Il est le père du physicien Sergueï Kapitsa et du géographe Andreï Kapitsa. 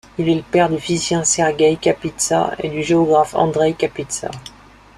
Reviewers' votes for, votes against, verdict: 2, 0, accepted